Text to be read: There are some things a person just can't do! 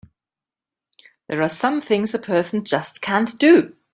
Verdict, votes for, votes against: accepted, 3, 0